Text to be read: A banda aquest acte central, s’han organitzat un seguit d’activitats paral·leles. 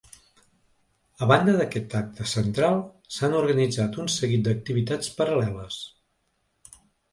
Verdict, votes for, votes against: rejected, 1, 2